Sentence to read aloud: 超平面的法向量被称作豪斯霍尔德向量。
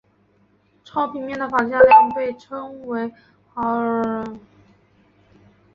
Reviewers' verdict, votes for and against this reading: rejected, 0, 4